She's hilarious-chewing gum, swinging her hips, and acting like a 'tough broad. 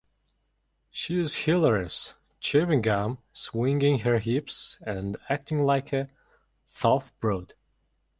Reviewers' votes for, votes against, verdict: 1, 2, rejected